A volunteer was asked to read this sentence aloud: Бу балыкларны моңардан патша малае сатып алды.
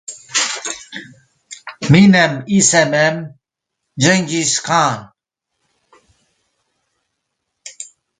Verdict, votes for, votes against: rejected, 0, 2